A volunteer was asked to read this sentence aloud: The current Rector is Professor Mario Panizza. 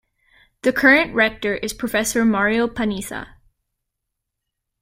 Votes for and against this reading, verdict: 2, 0, accepted